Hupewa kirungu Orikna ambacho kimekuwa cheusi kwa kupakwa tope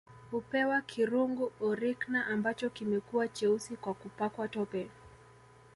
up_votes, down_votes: 2, 0